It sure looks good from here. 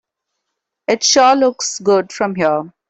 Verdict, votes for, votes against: accepted, 2, 0